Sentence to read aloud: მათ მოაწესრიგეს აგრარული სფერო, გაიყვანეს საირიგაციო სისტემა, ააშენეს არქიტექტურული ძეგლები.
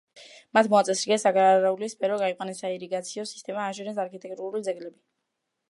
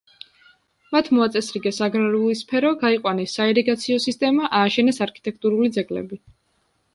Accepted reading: second